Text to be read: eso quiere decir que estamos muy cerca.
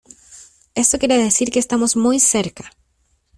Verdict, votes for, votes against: accepted, 2, 0